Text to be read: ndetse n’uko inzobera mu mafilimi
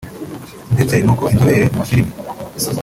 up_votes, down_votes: 1, 2